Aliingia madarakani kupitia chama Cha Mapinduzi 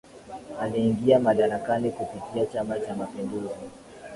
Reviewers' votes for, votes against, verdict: 2, 1, accepted